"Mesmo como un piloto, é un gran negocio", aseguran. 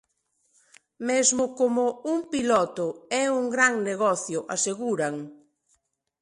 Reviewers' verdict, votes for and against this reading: accepted, 2, 0